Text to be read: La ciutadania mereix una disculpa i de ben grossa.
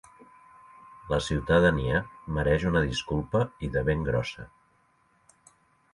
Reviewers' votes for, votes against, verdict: 2, 0, accepted